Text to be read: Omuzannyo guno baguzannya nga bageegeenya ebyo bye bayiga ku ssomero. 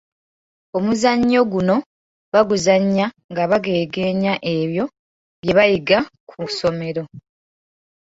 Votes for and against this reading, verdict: 2, 0, accepted